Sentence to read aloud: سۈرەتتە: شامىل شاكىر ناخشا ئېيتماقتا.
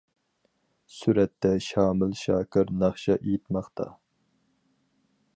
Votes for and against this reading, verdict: 4, 0, accepted